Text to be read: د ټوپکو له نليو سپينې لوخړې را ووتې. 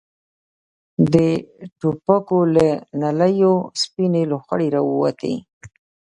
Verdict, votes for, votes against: accepted, 2, 0